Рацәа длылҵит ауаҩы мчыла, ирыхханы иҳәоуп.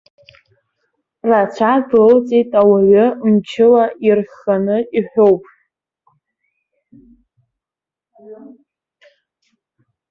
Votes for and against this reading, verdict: 0, 2, rejected